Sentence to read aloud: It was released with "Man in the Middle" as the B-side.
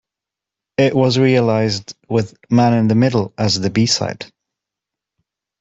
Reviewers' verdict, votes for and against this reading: rejected, 0, 2